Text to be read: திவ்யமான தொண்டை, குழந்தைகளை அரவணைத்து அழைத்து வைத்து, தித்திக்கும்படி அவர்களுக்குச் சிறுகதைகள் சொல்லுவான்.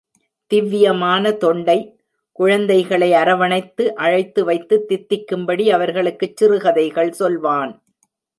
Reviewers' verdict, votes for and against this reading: accepted, 2, 0